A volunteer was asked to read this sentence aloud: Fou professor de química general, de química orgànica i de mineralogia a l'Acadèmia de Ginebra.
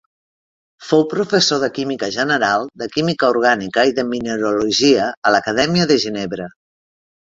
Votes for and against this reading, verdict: 2, 0, accepted